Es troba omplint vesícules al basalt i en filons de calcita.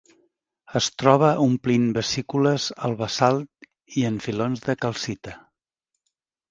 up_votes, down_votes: 2, 0